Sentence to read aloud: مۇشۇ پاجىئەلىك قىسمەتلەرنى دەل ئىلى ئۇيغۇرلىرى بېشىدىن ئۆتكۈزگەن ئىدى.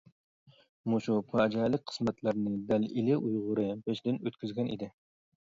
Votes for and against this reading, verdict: 0, 2, rejected